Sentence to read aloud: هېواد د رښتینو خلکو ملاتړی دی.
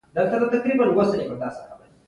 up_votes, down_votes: 0, 2